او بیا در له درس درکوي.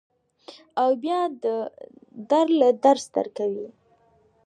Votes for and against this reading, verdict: 1, 2, rejected